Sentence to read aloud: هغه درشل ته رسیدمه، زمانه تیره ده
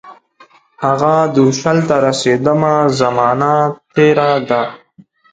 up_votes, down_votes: 2, 0